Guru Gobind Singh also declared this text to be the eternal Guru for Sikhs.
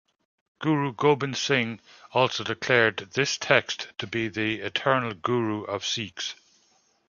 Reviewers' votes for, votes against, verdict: 2, 0, accepted